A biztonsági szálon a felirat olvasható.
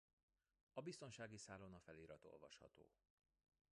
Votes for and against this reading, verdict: 0, 2, rejected